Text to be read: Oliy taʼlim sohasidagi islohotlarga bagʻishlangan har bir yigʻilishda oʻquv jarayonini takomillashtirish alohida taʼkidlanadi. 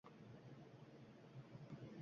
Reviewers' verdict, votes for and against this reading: rejected, 0, 2